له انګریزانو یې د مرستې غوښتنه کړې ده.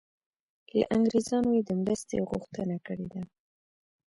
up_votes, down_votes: 2, 1